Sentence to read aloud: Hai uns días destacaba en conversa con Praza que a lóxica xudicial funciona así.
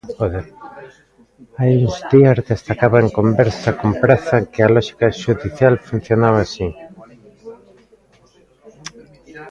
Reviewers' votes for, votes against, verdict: 0, 2, rejected